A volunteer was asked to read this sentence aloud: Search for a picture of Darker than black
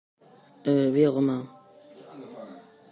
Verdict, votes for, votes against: rejected, 0, 2